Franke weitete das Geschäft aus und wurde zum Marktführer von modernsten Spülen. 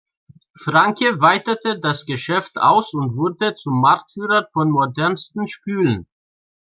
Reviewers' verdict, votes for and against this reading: accepted, 2, 0